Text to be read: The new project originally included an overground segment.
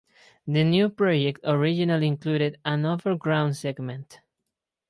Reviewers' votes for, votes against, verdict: 2, 2, rejected